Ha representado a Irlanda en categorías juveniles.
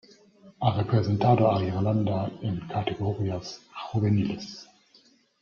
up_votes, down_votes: 2, 1